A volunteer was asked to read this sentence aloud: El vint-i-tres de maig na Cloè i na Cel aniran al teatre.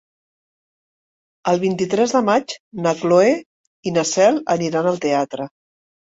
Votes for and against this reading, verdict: 3, 0, accepted